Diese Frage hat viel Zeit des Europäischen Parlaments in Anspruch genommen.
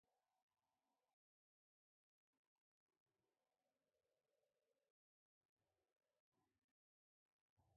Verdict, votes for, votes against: rejected, 0, 2